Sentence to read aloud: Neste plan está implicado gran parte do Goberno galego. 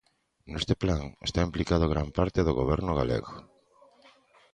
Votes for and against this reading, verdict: 2, 0, accepted